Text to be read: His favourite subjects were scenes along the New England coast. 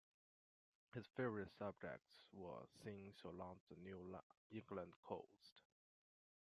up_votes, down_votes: 0, 2